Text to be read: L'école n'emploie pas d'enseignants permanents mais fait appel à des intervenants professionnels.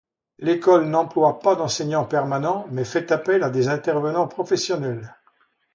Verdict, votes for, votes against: accepted, 2, 0